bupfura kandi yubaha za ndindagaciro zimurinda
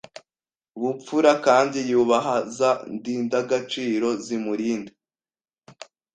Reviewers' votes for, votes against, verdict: 2, 0, accepted